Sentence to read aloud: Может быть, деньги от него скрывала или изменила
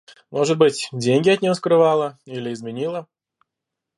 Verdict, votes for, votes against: accepted, 2, 1